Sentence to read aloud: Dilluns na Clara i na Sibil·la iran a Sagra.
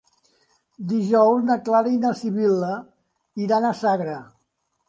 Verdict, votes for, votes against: rejected, 0, 2